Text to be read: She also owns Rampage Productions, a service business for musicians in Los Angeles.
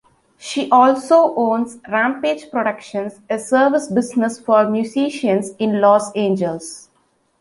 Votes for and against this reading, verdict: 2, 1, accepted